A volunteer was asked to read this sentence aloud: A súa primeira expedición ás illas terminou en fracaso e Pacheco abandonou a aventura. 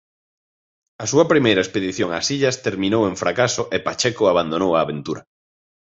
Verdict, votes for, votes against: accepted, 2, 0